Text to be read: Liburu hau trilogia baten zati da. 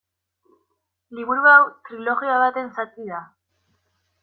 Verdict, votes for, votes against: accepted, 2, 0